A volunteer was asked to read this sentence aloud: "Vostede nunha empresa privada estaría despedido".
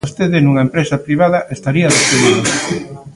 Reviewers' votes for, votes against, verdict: 0, 2, rejected